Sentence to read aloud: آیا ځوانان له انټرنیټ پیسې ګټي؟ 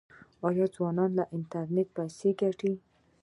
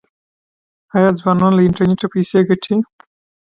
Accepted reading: second